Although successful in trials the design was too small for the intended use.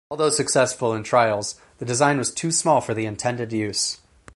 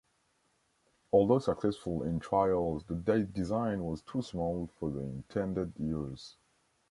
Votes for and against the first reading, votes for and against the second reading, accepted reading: 4, 0, 1, 2, first